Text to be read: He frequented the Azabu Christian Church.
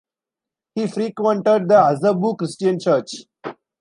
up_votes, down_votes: 2, 0